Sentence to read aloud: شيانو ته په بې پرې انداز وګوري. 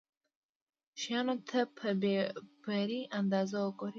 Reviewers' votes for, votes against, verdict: 2, 0, accepted